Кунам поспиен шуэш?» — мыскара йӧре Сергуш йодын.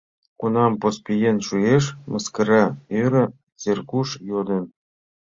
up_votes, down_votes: 2, 1